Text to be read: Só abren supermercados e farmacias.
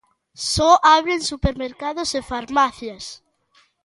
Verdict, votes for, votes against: accepted, 2, 0